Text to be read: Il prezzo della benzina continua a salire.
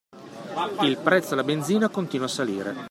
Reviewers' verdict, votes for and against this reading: rejected, 1, 2